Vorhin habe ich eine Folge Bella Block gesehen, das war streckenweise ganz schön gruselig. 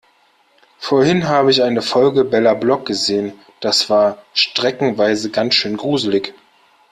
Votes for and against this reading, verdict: 2, 0, accepted